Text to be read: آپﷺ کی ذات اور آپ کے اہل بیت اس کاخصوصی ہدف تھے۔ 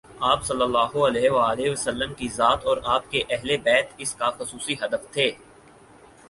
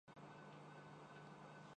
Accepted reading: first